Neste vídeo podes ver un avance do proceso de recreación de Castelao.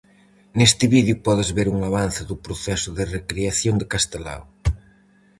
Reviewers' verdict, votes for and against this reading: accepted, 4, 0